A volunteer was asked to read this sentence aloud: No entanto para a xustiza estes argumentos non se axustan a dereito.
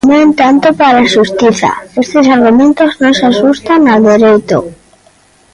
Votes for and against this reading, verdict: 0, 2, rejected